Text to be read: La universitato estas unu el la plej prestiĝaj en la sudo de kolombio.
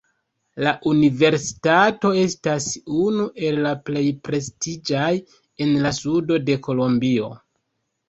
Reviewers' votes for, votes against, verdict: 2, 0, accepted